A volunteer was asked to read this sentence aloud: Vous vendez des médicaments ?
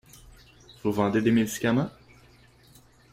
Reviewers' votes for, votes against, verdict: 2, 0, accepted